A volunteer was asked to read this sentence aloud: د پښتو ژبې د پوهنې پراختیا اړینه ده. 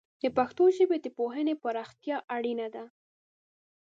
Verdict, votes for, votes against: accepted, 2, 0